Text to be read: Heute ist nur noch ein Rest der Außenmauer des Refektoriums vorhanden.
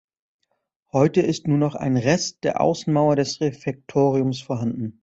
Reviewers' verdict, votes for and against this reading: accepted, 2, 0